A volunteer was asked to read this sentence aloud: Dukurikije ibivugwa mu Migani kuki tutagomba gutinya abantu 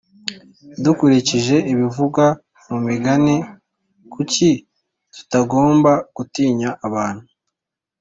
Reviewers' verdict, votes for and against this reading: accepted, 2, 1